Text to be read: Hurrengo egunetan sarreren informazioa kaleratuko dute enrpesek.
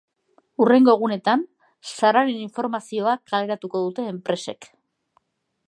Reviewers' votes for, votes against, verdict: 0, 2, rejected